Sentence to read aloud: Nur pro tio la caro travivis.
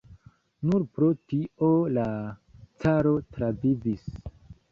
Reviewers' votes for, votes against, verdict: 2, 0, accepted